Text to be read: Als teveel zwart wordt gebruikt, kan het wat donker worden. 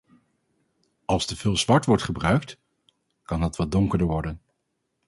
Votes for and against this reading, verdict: 0, 2, rejected